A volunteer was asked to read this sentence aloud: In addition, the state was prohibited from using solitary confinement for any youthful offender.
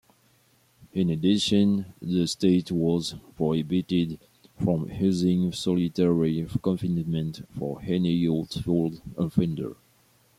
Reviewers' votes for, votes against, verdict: 1, 2, rejected